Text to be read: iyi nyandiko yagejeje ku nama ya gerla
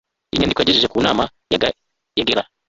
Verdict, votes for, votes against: rejected, 0, 2